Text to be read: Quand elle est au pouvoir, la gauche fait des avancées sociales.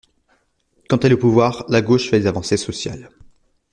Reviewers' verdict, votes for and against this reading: accepted, 2, 0